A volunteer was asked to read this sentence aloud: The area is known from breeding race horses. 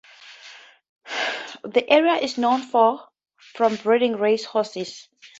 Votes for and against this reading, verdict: 4, 0, accepted